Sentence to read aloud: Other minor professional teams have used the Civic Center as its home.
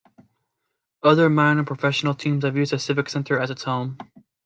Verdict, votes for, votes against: accepted, 2, 0